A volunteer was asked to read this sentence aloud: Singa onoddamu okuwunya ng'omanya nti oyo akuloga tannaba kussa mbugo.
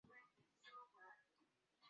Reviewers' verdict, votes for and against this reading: rejected, 0, 2